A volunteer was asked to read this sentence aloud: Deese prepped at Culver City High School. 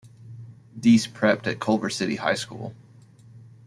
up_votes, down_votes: 2, 0